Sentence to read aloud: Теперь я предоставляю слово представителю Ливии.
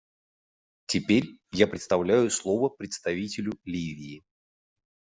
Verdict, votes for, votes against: rejected, 0, 2